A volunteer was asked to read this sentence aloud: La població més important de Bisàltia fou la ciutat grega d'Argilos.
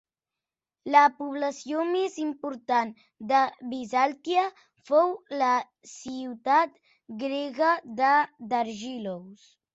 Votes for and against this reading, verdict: 1, 2, rejected